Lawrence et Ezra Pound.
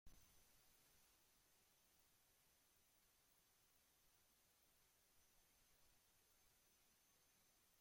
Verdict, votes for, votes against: rejected, 0, 2